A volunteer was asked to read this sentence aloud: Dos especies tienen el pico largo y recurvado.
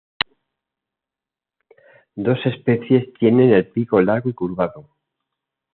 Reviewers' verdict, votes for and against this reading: rejected, 1, 2